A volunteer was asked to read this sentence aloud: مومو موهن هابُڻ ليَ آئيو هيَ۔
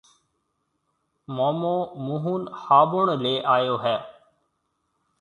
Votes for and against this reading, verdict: 2, 0, accepted